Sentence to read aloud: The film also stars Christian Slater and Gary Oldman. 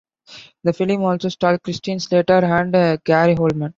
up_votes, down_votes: 1, 3